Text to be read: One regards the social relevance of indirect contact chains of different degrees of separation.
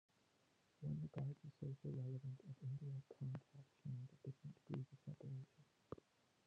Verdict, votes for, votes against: rejected, 0, 2